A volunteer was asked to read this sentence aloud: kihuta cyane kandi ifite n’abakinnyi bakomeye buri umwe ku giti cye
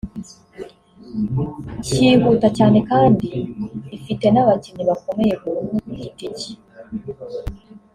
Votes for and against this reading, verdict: 2, 1, accepted